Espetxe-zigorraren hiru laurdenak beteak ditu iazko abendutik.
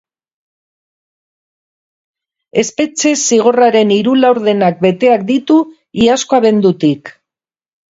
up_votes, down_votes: 6, 0